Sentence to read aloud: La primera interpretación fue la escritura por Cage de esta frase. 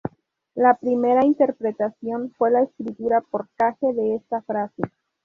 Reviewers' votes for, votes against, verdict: 0, 2, rejected